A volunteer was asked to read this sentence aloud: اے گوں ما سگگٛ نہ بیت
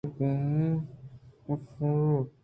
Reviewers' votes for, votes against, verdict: 2, 0, accepted